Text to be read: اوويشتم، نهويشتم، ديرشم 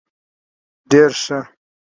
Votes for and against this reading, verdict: 1, 2, rejected